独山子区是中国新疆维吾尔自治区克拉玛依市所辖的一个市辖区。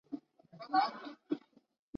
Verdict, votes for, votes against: rejected, 0, 2